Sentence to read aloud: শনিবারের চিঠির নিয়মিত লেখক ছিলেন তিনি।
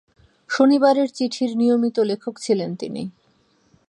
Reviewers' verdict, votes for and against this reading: accepted, 2, 0